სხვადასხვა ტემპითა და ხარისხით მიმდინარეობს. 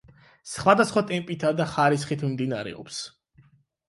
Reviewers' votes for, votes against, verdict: 8, 4, accepted